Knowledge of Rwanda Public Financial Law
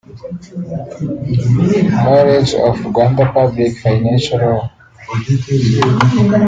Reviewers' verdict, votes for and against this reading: rejected, 0, 2